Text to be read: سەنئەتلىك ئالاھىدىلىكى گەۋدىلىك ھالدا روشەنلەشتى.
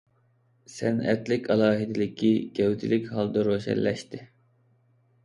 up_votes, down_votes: 3, 0